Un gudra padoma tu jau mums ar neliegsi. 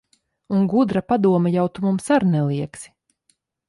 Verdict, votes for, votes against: rejected, 0, 2